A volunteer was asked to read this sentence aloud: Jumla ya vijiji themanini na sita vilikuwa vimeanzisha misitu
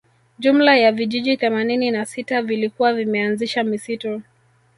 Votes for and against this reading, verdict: 2, 0, accepted